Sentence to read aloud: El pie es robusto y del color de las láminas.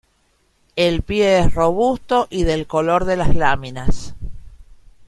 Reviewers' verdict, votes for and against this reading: accepted, 2, 1